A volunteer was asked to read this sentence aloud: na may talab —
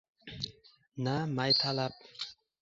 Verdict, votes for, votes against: rejected, 1, 2